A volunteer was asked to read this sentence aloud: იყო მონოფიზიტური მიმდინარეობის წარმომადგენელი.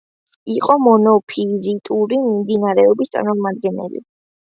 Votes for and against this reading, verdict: 2, 0, accepted